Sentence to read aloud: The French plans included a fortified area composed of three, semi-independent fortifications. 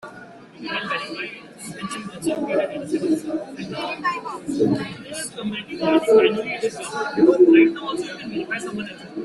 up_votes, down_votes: 0, 3